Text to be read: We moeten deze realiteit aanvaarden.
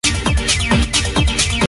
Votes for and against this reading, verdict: 0, 2, rejected